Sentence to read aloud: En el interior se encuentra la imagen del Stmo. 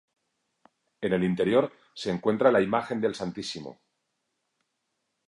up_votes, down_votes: 2, 0